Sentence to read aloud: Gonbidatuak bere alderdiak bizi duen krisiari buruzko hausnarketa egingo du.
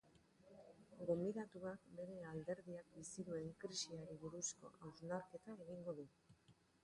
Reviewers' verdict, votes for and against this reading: rejected, 1, 2